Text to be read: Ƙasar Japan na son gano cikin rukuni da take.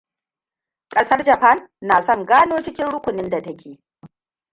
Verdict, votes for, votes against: rejected, 1, 2